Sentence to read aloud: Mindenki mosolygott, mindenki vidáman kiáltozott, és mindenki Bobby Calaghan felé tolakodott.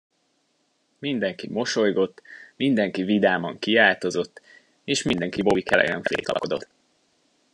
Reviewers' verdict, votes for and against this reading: rejected, 0, 2